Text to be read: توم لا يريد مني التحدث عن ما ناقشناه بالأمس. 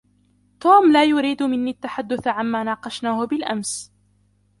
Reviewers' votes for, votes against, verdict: 0, 2, rejected